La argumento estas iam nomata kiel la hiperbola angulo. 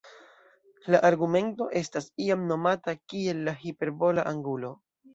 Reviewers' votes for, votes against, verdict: 1, 2, rejected